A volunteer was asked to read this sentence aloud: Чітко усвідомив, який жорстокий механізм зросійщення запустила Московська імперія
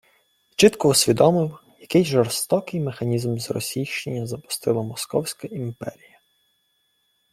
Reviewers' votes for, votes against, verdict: 3, 1, accepted